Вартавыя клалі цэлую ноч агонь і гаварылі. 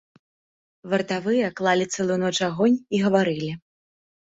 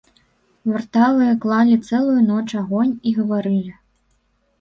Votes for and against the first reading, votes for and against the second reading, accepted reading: 2, 0, 0, 2, first